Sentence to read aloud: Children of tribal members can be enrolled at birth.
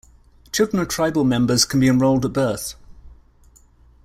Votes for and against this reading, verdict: 2, 0, accepted